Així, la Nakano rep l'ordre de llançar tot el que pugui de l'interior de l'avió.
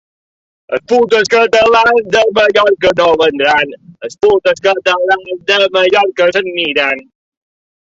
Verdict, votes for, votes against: rejected, 0, 2